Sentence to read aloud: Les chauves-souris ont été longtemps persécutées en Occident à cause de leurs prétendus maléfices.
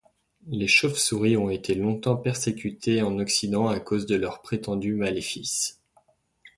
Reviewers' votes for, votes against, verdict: 2, 0, accepted